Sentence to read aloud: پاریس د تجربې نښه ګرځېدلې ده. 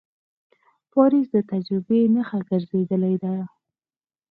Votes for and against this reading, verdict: 4, 0, accepted